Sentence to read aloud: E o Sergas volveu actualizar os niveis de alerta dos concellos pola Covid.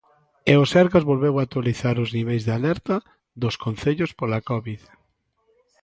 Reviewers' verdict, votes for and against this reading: accepted, 2, 1